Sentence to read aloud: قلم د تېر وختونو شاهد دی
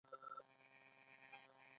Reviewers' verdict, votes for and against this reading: rejected, 1, 2